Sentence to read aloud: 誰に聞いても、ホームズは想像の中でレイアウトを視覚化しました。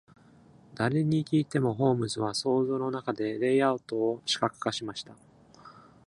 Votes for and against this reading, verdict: 2, 0, accepted